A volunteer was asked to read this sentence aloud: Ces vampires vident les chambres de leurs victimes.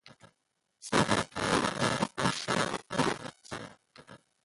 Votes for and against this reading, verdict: 0, 2, rejected